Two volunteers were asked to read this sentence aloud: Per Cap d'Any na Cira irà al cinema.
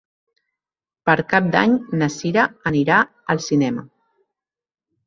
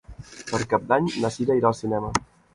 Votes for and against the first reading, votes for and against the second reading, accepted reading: 1, 2, 2, 0, second